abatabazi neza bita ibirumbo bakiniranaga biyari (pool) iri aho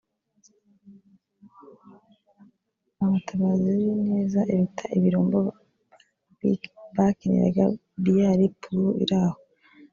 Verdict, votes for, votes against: rejected, 1, 3